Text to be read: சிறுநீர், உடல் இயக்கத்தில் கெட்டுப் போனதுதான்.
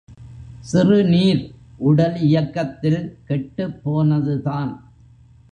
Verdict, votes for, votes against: accepted, 2, 0